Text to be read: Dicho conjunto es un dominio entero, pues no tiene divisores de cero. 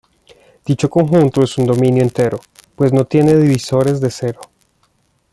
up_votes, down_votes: 2, 0